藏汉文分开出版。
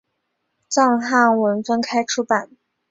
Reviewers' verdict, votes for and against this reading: accepted, 4, 0